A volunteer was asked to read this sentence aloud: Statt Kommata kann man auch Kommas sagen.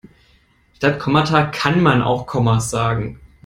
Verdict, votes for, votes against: accepted, 2, 1